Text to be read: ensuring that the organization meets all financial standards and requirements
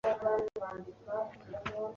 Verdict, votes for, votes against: rejected, 0, 2